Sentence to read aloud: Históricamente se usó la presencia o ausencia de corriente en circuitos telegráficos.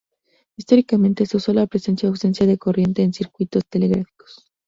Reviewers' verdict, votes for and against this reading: accepted, 2, 0